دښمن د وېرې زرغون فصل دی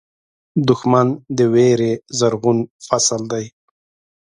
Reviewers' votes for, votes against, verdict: 2, 0, accepted